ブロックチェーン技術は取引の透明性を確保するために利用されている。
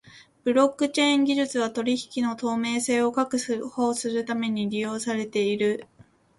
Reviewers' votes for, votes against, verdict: 1, 2, rejected